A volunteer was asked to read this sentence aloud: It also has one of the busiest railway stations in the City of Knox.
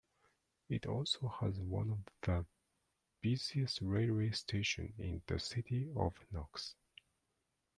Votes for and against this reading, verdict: 2, 0, accepted